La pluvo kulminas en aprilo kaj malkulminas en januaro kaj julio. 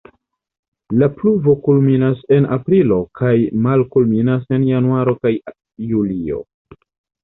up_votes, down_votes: 0, 2